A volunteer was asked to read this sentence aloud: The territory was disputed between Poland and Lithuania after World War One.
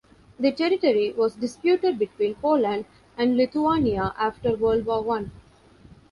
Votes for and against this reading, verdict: 2, 0, accepted